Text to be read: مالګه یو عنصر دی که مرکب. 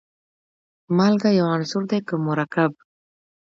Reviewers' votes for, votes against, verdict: 2, 0, accepted